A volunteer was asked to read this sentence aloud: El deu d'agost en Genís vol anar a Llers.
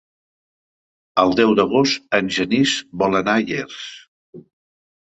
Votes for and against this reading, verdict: 2, 0, accepted